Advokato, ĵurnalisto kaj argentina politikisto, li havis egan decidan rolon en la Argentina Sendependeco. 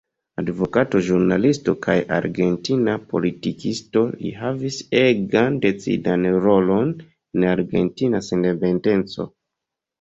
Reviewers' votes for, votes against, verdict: 2, 1, accepted